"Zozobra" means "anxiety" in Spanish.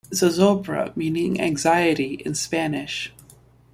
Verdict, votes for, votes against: rejected, 0, 2